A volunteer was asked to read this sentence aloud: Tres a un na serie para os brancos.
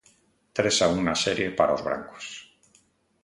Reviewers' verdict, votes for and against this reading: accepted, 2, 0